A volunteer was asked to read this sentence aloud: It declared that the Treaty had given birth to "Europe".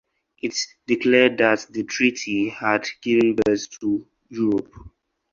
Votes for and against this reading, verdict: 0, 2, rejected